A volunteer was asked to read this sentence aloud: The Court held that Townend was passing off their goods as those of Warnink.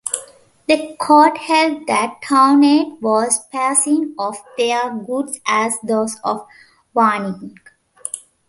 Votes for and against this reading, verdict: 2, 0, accepted